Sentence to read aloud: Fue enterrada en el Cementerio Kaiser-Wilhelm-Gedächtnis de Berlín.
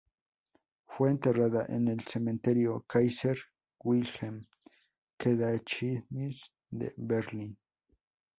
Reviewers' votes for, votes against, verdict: 0, 2, rejected